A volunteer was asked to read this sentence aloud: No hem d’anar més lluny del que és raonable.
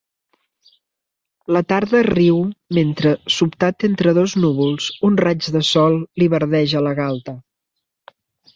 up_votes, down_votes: 0, 2